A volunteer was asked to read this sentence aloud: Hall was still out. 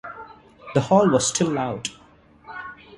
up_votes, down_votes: 1, 3